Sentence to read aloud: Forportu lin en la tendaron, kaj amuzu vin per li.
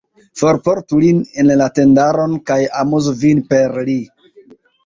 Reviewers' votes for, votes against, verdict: 1, 2, rejected